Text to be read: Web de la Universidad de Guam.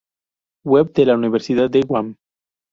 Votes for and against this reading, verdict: 0, 2, rejected